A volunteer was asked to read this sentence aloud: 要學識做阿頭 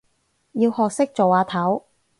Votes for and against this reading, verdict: 4, 0, accepted